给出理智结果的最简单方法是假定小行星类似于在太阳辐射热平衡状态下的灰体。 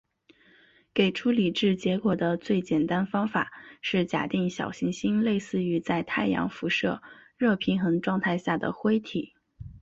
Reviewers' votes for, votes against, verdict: 2, 1, accepted